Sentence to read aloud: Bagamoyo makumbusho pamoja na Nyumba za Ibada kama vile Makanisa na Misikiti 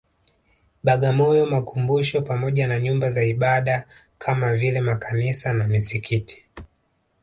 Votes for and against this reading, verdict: 1, 2, rejected